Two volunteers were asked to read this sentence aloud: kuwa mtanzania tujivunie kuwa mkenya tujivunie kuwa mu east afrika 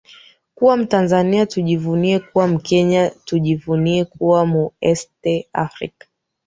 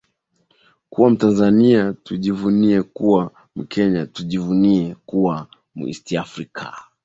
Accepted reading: second